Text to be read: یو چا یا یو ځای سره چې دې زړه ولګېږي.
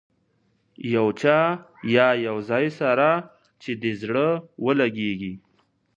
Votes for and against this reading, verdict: 2, 0, accepted